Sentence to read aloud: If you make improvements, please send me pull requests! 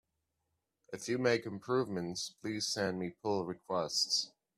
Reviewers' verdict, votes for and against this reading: accepted, 2, 0